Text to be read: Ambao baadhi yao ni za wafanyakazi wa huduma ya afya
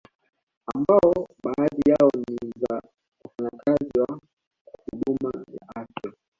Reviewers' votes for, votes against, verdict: 2, 0, accepted